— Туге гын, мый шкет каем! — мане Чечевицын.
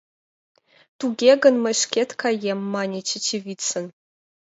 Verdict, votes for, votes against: accepted, 2, 0